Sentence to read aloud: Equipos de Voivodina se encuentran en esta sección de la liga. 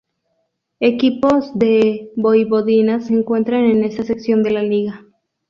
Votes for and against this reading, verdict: 0, 2, rejected